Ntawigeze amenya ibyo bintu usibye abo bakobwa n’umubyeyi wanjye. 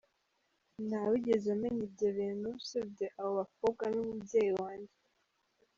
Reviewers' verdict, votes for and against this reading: accepted, 2, 0